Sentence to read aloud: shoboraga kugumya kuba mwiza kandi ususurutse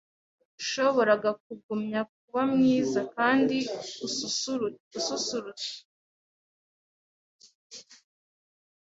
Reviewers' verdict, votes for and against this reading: rejected, 1, 2